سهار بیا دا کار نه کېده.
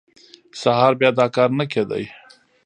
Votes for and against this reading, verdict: 2, 1, accepted